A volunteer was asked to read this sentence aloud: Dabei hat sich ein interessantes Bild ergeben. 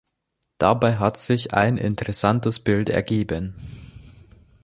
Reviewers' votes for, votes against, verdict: 2, 0, accepted